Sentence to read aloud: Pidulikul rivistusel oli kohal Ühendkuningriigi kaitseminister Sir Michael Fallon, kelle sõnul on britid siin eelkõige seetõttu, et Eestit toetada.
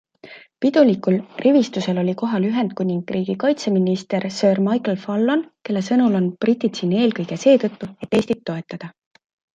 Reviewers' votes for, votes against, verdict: 2, 0, accepted